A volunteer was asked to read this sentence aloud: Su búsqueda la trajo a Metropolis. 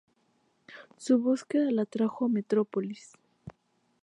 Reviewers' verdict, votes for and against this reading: accepted, 2, 0